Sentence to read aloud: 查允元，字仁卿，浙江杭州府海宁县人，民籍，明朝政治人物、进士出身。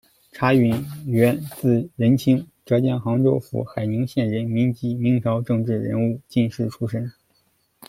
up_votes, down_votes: 1, 2